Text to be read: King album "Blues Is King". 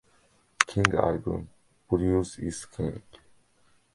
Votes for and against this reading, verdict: 2, 1, accepted